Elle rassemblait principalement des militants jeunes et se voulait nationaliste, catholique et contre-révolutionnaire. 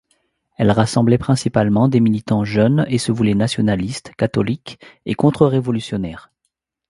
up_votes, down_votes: 2, 0